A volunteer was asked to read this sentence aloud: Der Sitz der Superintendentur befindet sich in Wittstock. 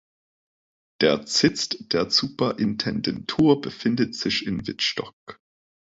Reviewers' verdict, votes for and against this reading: rejected, 0, 2